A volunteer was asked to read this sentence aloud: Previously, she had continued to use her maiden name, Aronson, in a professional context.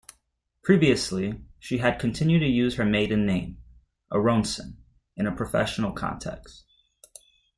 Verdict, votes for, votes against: accepted, 2, 0